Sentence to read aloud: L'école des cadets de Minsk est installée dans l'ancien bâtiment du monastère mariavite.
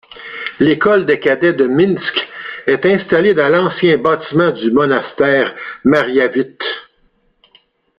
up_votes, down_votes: 2, 0